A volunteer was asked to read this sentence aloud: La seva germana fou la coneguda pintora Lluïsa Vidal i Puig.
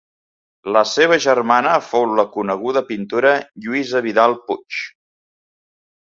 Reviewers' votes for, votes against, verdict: 1, 2, rejected